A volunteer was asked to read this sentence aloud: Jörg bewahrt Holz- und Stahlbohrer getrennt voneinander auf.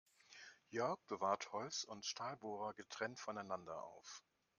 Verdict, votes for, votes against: accepted, 2, 0